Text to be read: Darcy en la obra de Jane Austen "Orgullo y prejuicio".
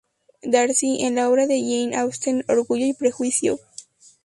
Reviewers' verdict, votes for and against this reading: accepted, 2, 0